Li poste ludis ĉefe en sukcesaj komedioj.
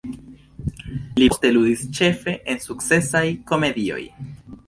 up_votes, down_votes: 2, 0